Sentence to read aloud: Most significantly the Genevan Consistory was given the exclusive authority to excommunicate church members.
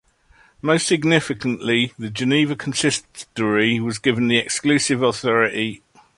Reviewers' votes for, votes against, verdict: 0, 2, rejected